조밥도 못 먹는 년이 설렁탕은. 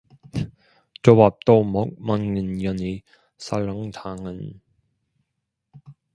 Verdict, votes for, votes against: rejected, 1, 2